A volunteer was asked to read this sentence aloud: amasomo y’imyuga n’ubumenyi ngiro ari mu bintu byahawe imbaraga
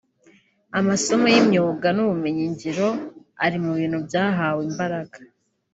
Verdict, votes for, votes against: accepted, 2, 0